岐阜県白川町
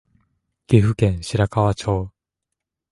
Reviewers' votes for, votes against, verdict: 2, 1, accepted